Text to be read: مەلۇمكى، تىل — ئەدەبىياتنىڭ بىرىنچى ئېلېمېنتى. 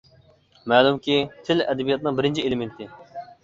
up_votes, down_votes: 2, 0